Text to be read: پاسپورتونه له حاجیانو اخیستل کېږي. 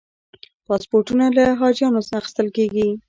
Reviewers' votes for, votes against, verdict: 2, 0, accepted